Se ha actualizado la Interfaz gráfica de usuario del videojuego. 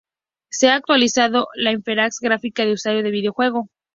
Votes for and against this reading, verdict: 0, 2, rejected